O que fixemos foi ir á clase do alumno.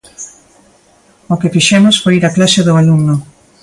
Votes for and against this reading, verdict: 2, 0, accepted